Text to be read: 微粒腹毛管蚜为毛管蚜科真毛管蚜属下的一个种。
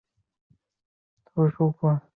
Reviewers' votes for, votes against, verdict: 0, 2, rejected